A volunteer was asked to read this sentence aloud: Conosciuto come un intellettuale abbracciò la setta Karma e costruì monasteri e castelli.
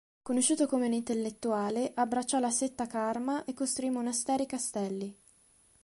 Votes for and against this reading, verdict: 2, 0, accepted